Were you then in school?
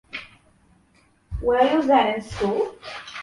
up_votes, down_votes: 0, 2